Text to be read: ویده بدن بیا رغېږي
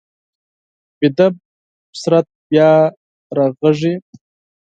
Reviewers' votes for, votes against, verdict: 0, 4, rejected